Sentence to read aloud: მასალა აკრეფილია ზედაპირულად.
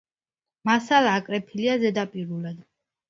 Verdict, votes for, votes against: accepted, 2, 0